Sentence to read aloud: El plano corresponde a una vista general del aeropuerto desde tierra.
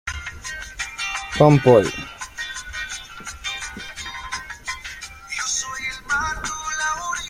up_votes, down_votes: 0, 2